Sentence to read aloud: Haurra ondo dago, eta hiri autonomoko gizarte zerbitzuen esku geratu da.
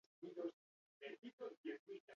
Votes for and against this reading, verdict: 2, 6, rejected